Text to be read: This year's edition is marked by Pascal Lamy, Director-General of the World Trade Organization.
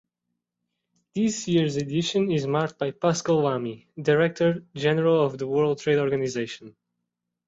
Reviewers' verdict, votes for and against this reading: accepted, 2, 0